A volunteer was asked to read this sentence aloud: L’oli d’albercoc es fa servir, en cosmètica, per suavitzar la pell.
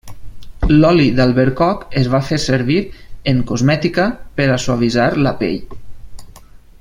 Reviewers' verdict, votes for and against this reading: rejected, 1, 2